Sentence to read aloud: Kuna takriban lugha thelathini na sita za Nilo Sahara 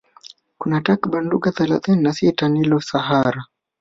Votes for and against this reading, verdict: 1, 2, rejected